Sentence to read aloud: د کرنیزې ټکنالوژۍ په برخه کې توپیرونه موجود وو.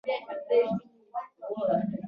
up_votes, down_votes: 0, 2